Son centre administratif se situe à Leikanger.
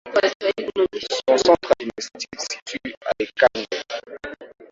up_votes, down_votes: 0, 2